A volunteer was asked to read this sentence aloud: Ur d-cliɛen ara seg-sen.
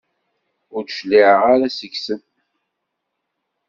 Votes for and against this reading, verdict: 2, 0, accepted